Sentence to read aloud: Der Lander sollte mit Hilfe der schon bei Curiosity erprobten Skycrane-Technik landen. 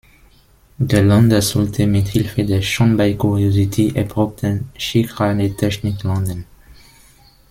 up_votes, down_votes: 0, 2